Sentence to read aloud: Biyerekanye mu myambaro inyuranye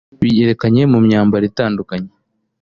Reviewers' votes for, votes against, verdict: 0, 2, rejected